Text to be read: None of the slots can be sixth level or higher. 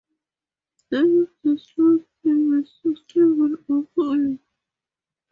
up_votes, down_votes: 0, 4